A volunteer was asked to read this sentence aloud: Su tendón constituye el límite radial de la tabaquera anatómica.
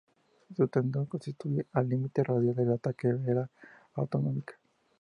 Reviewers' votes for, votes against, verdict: 0, 2, rejected